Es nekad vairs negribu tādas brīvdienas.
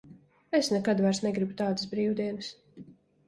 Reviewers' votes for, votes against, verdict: 3, 0, accepted